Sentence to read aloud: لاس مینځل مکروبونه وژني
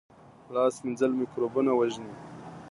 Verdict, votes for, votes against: accepted, 2, 0